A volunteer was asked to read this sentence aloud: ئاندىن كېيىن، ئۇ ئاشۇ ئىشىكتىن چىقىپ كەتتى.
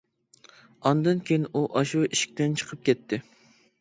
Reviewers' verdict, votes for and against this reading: accepted, 2, 0